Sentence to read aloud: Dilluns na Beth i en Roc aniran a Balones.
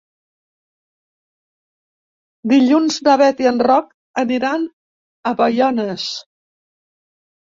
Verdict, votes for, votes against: rejected, 0, 2